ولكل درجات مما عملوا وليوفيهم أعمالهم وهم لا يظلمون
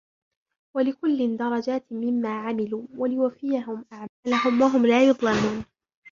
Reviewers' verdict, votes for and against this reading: accepted, 2, 0